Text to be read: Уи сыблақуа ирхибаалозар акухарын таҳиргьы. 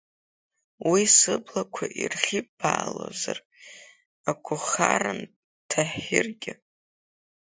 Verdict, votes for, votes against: rejected, 1, 2